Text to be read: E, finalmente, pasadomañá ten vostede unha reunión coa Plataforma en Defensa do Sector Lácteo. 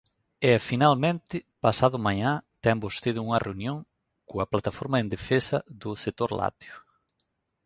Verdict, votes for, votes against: rejected, 0, 2